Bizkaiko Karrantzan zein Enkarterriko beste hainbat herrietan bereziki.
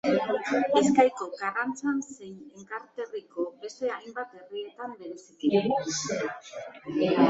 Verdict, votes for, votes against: rejected, 1, 2